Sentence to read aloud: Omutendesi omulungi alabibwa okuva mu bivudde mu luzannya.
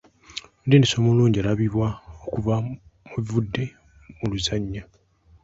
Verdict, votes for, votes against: accepted, 2, 1